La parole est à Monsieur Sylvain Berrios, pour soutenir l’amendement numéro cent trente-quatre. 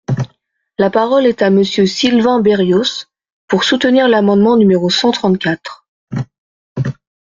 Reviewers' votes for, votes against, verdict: 2, 0, accepted